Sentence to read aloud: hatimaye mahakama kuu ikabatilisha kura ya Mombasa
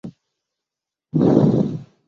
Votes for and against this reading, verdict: 0, 2, rejected